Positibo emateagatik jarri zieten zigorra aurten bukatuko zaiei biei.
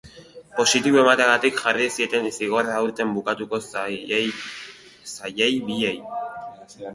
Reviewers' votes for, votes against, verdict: 0, 3, rejected